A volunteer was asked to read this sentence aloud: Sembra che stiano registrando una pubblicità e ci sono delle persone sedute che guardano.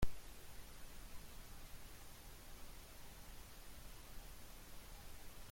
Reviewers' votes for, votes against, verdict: 0, 2, rejected